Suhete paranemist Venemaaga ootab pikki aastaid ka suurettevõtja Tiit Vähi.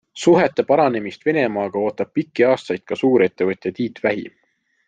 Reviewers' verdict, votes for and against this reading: accepted, 2, 0